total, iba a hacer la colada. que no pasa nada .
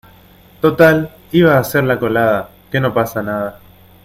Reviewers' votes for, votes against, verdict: 2, 0, accepted